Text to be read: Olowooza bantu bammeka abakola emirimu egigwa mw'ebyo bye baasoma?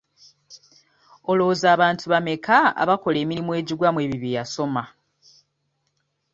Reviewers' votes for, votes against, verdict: 2, 0, accepted